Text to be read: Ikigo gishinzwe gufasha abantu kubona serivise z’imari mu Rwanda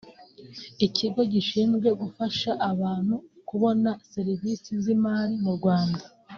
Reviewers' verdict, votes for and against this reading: accepted, 2, 0